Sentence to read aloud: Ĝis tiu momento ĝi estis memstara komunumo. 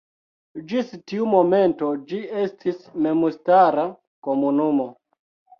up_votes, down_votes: 1, 2